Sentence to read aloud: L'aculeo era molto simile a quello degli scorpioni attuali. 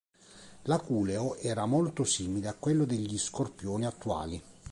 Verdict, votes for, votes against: accepted, 2, 0